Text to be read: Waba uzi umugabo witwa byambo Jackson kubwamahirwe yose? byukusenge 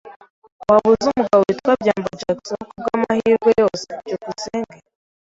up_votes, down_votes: 2, 0